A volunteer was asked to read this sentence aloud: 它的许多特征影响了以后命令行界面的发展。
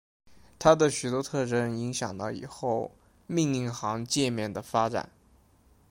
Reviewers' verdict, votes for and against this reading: accepted, 2, 0